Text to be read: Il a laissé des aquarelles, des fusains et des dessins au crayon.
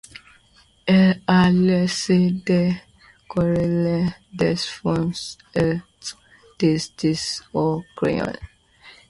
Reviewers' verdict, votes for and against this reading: accepted, 2, 0